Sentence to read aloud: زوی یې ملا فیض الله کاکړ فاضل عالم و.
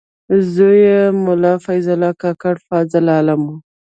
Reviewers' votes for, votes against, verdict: 0, 2, rejected